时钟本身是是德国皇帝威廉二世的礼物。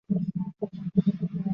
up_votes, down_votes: 3, 1